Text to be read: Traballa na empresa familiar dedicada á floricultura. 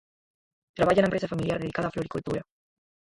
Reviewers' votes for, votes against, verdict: 0, 4, rejected